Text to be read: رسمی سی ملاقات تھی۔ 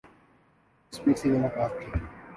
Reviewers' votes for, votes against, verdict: 1, 2, rejected